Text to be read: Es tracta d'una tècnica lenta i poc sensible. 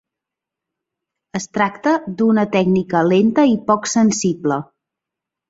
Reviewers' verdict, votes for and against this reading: accepted, 2, 0